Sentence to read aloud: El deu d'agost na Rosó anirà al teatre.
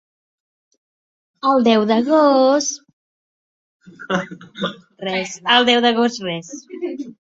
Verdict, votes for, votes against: rejected, 0, 2